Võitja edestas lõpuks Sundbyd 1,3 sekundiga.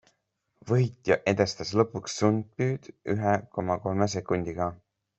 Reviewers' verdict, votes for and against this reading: rejected, 0, 2